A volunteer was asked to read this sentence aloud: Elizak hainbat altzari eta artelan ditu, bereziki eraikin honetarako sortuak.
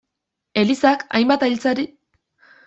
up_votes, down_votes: 0, 2